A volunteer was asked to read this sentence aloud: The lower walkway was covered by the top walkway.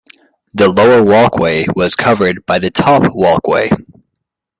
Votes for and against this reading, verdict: 2, 1, accepted